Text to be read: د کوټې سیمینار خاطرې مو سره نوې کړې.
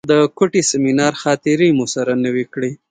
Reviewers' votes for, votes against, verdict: 2, 0, accepted